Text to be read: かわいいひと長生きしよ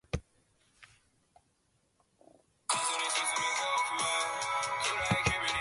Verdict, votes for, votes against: rejected, 0, 2